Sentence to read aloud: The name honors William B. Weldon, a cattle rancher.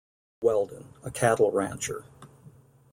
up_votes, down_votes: 0, 2